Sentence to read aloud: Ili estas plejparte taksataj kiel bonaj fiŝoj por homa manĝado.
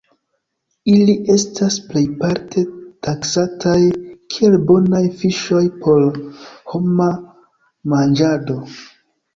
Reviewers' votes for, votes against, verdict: 2, 0, accepted